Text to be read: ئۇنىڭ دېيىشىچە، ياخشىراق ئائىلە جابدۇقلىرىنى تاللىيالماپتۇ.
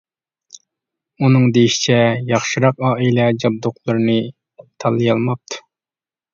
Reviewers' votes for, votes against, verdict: 2, 0, accepted